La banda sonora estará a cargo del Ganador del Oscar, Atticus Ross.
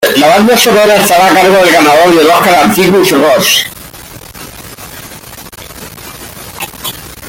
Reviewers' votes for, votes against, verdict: 2, 1, accepted